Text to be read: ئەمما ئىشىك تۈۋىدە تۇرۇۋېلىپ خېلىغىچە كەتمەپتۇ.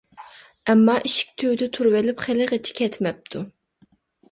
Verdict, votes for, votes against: accepted, 2, 0